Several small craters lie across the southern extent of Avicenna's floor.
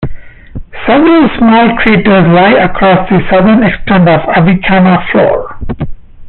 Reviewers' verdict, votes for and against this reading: rejected, 1, 2